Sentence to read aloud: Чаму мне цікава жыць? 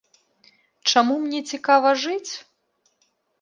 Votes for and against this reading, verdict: 2, 0, accepted